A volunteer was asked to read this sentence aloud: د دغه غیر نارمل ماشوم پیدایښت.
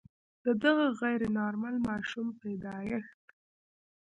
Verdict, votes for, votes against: rejected, 1, 2